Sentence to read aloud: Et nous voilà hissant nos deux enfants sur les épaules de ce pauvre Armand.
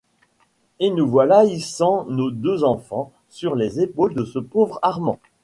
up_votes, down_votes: 1, 2